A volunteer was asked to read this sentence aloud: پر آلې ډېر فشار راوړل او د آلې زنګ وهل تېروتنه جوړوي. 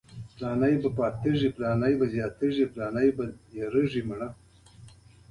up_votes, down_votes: 1, 3